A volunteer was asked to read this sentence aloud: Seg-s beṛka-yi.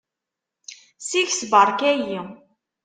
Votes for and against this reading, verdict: 2, 0, accepted